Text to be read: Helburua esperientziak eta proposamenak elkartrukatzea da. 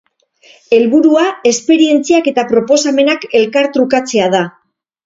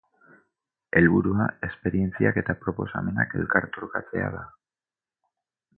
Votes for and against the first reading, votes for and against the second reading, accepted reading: 4, 0, 2, 2, first